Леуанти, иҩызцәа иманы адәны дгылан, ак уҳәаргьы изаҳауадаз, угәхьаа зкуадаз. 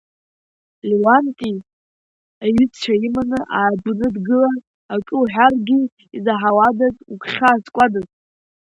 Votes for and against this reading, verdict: 2, 0, accepted